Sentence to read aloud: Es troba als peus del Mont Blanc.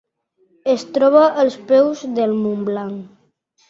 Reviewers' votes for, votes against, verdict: 2, 0, accepted